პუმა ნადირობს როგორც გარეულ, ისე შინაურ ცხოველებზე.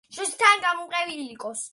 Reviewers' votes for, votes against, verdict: 0, 2, rejected